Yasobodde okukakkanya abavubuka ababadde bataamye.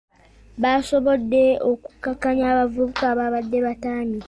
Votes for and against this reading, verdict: 2, 1, accepted